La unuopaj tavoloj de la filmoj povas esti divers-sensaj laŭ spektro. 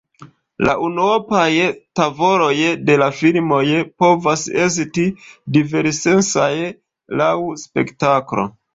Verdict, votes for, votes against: accepted, 2, 0